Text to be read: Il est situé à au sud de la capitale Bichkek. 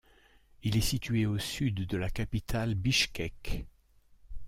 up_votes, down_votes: 2, 3